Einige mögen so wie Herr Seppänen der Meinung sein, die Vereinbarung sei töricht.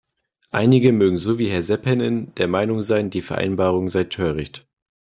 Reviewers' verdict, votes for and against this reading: accepted, 2, 0